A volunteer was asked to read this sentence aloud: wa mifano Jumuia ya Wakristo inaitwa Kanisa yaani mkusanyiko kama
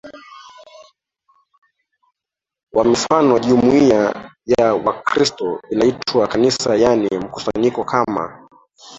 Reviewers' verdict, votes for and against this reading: accepted, 2, 1